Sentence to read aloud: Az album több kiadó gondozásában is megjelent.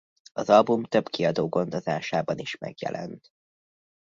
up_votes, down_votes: 3, 0